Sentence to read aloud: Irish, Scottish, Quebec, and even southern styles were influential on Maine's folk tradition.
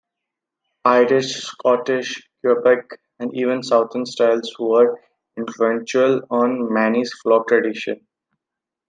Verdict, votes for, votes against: accepted, 2, 0